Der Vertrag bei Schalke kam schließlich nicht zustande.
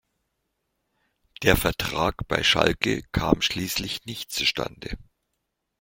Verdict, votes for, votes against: accepted, 2, 0